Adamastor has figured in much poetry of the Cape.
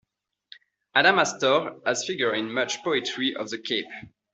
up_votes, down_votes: 2, 1